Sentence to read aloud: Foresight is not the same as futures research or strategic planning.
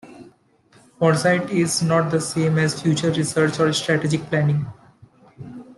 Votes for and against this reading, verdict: 2, 1, accepted